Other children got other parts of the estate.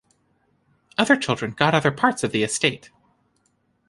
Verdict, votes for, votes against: accepted, 2, 0